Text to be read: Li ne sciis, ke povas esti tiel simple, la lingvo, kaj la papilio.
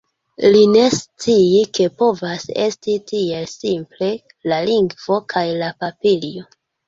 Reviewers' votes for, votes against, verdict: 0, 2, rejected